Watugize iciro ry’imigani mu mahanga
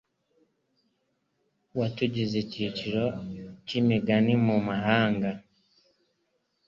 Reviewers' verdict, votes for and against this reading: accepted, 2, 0